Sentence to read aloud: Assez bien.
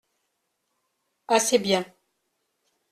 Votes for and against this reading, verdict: 2, 0, accepted